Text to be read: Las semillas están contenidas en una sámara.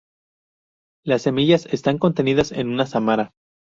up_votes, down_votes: 2, 0